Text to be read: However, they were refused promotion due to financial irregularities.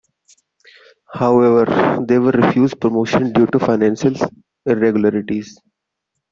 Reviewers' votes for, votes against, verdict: 1, 2, rejected